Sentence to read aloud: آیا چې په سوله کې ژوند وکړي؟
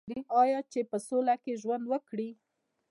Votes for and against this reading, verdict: 2, 0, accepted